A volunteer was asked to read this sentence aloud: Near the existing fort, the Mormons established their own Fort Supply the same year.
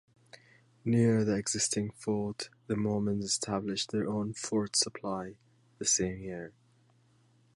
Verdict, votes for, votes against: accepted, 2, 0